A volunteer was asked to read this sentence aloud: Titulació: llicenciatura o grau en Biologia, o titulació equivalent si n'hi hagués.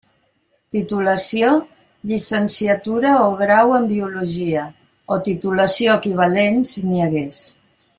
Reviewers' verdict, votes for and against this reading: accepted, 2, 0